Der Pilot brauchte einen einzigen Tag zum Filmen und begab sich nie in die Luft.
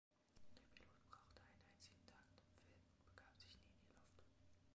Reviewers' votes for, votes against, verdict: 0, 2, rejected